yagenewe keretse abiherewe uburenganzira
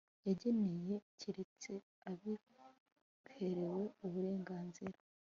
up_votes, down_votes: 2, 0